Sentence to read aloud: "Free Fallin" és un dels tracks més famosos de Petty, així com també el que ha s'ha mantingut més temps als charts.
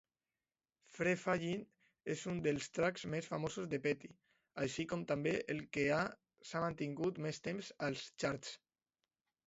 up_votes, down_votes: 1, 2